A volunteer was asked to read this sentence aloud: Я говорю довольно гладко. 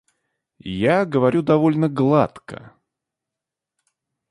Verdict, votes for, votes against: accepted, 2, 0